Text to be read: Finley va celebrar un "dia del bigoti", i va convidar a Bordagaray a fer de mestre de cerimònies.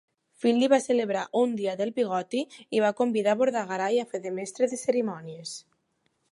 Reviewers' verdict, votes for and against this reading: accepted, 2, 0